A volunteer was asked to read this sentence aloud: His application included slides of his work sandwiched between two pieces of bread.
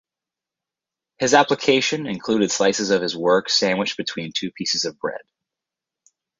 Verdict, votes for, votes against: rejected, 2, 2